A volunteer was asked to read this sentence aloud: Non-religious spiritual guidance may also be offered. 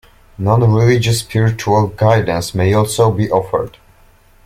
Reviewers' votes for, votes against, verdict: 2, 1, accepted